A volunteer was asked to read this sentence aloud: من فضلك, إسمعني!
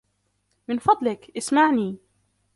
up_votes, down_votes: 1, 2